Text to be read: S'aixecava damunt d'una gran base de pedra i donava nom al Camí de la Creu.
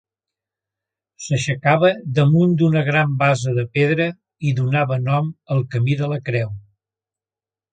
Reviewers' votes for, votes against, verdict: 2, 0, accepted